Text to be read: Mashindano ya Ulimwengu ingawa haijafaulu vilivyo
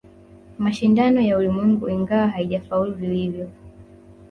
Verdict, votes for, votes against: rejected, 0, 2